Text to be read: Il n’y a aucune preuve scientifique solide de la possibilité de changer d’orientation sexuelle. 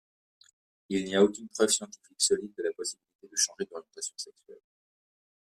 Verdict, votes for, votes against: rejected, 1, 2